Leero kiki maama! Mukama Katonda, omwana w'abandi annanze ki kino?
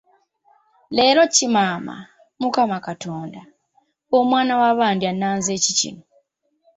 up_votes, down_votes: 1, 2